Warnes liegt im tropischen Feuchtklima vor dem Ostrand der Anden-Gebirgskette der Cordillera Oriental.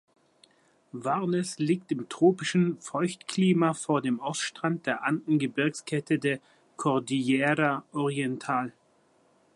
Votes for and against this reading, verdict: 0, 3, rejected